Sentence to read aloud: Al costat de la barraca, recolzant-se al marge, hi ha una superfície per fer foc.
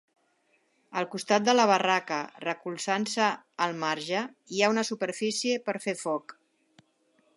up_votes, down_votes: 3, 0